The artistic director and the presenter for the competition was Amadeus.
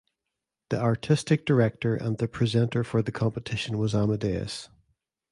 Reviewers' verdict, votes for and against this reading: accepted, 2, 0